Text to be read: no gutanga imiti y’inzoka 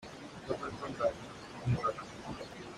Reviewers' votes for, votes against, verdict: 0, 2, rejected